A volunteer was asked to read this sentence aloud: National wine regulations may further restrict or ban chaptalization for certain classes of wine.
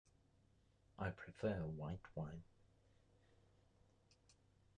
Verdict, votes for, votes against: rejected, 0, 2